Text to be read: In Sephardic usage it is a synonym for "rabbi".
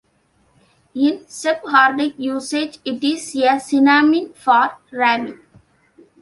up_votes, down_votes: 2, 0